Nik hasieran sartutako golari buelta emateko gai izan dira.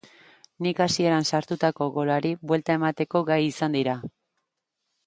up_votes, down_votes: 2, 0